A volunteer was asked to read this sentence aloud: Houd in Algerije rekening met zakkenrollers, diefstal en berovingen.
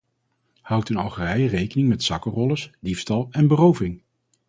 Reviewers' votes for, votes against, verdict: 0, 2, rejected